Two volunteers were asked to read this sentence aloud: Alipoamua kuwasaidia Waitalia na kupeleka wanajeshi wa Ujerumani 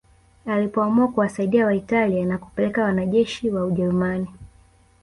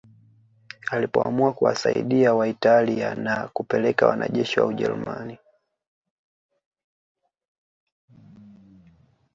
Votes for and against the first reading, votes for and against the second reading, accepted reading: 1, 2, 2, 0, second